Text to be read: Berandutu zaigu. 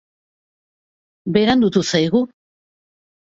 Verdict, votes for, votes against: accepted, 2, 0